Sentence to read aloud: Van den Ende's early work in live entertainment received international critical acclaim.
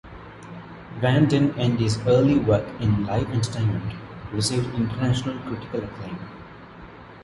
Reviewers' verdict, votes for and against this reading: accepted, 2, 0